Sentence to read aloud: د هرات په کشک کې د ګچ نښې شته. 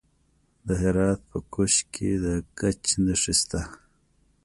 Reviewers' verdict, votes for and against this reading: accepted, 2, 1